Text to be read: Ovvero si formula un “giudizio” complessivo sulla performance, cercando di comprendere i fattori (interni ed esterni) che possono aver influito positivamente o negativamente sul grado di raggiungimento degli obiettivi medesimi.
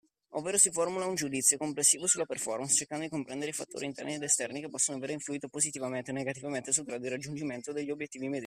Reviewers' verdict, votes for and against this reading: rejected, 0, 2